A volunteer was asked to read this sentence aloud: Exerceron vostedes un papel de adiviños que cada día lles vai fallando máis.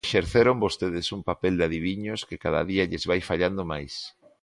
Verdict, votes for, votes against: rejected, 1, 2